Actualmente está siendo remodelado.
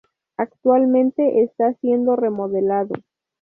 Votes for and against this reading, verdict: 2, 0, accepted